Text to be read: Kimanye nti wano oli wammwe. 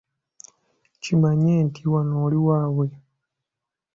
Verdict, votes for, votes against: rejected, 0, 2